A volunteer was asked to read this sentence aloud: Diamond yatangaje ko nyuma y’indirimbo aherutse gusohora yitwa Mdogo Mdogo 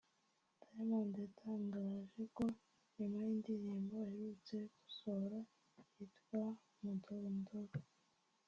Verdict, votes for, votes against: rejected, 0, 2